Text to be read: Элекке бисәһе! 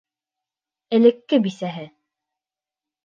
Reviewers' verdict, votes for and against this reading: accepted, 2, 0